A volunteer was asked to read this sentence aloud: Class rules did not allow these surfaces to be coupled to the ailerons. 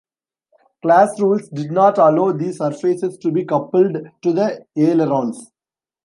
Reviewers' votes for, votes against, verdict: 2, 1, accepted